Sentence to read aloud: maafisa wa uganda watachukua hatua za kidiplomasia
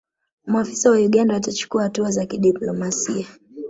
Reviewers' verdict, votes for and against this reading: rejected, 0, 2